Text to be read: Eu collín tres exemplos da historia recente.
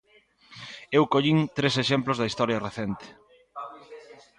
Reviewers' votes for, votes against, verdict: 2, 1, accepted